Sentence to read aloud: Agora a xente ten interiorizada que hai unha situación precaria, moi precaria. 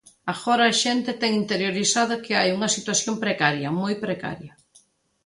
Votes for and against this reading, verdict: 2, 0, accepted